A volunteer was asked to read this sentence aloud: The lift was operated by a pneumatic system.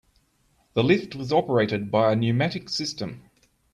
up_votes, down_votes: 2, 0